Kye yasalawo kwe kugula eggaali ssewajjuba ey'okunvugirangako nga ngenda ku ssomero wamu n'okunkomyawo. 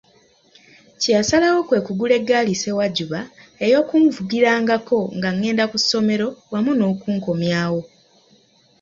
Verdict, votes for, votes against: accepted, 2, 1